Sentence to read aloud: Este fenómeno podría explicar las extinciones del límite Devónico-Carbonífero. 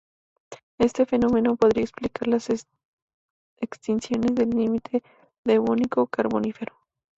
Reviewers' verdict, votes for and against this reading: rejected, 0, 2